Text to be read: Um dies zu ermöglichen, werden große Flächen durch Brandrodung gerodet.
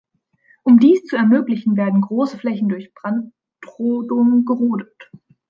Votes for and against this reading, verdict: 1, 2, rejected